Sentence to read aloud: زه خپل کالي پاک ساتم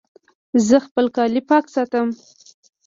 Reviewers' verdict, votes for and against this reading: accepted, 2, 1